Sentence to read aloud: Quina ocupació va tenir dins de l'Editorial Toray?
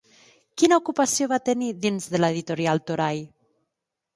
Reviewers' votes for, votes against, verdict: 1, 2, rejected